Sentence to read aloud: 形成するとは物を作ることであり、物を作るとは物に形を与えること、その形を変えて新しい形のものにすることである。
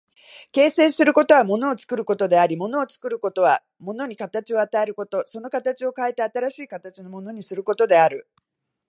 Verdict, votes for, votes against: rejected, 1, 2